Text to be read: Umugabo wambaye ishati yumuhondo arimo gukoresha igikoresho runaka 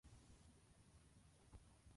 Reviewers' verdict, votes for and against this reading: rejected, 0, 2